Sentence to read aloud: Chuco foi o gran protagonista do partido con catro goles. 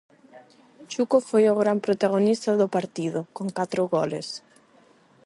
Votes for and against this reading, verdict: 4, 4, rejected